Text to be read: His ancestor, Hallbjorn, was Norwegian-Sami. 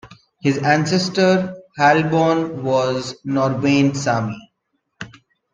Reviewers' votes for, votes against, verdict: 0, 2, rejected